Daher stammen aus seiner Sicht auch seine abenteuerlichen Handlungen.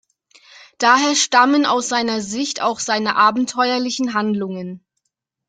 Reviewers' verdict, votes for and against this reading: accepted, 2, 0